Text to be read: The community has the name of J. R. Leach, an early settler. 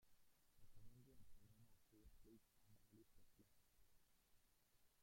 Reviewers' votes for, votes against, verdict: 0, 2, rejected